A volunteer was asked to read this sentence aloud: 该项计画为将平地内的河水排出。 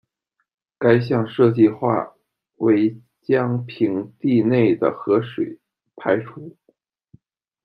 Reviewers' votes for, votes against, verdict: 1, 2, rejected